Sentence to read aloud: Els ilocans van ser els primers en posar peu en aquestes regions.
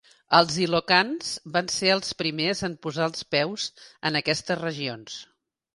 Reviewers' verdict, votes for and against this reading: rejected, 1, 2